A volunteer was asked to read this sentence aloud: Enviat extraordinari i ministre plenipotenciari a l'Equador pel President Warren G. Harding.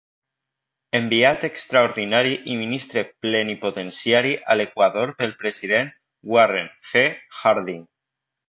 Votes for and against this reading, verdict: 1, 2, rejected